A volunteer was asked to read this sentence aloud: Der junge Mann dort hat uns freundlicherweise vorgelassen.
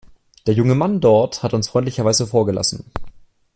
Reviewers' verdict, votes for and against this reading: accepted, 2, 0